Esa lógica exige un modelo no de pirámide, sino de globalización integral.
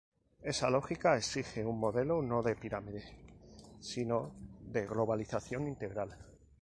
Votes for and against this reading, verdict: 2, 0, accepted